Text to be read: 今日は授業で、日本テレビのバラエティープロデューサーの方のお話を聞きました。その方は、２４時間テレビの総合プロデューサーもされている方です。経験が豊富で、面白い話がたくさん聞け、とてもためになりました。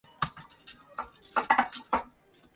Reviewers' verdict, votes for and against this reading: rejected, 0, 2